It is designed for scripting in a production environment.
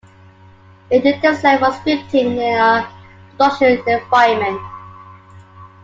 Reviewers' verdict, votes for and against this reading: rejected, 1, 2